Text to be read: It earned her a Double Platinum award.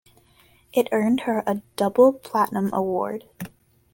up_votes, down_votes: 2, 0